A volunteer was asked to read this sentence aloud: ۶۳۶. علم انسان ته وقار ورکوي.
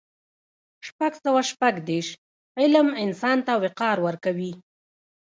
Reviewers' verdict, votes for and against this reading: rejected, 0, 2